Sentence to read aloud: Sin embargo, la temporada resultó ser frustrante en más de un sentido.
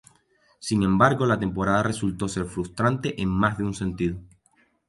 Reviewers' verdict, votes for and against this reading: accepted, 2, 0